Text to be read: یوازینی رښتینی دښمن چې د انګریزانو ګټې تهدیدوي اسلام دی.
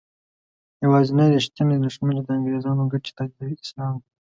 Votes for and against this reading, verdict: 1, 2, rejected